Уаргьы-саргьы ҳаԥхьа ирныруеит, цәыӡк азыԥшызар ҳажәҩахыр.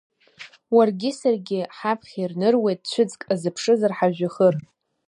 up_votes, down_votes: 2, 0